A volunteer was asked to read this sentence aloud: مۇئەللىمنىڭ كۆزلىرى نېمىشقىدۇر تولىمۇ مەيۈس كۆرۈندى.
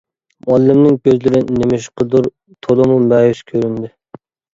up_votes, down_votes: 2, 0